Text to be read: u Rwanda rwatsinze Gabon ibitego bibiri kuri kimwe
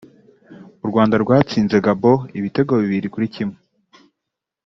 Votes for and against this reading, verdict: 2, 0, accepted